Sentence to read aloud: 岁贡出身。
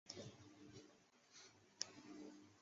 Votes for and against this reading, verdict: 3, 4, rejected